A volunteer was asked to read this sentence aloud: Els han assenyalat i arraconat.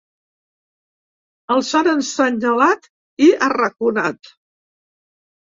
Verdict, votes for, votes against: rejected, 0, 3